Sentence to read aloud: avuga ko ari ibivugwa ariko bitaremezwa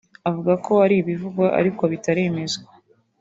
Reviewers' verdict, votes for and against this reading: accepted, 2, 0